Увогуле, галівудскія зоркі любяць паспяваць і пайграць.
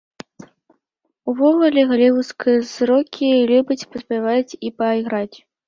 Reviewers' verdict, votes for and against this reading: rejected, 0, 3